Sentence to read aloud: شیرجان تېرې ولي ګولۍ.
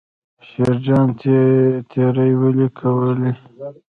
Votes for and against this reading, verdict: 1, 2, rejected